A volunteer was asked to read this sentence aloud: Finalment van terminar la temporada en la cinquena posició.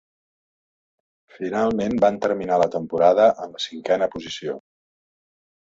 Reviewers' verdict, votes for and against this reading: rejected, 2, 3